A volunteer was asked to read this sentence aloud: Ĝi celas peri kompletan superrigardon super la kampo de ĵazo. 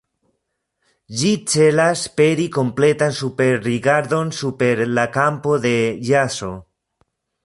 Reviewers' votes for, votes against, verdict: 0, 2, rejected